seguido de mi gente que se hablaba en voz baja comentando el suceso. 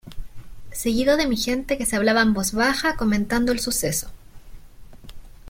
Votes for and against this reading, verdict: 2, 0, accepted